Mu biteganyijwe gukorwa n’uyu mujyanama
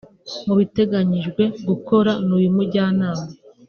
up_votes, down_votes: 1, 2